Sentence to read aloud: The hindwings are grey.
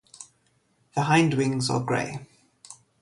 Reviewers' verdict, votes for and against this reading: accepted, 2, 0